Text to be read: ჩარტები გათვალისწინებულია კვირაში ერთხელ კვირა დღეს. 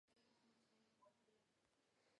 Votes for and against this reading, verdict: 1, 2, rejected